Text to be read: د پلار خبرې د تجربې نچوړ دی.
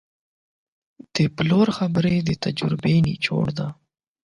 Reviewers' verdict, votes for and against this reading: rejected, 0, 8